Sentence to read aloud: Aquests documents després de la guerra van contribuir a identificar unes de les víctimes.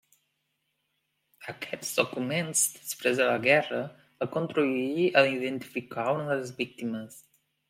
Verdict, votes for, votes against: rejected, 0, 2